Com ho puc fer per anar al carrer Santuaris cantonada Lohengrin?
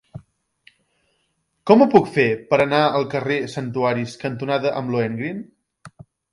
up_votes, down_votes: 0, 2